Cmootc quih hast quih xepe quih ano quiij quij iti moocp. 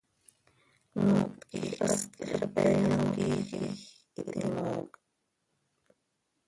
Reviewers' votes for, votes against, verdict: 0, 2, rejected